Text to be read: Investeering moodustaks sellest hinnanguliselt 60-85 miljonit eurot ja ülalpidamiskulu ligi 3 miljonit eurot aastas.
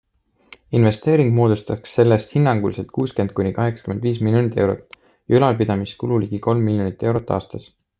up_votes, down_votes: 0, 2